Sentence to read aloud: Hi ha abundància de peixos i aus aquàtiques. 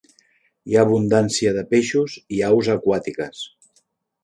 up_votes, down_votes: 3, 0